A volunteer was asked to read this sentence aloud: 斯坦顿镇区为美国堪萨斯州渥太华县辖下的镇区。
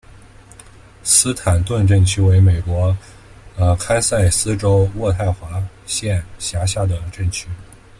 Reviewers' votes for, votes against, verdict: 2, 1, accepted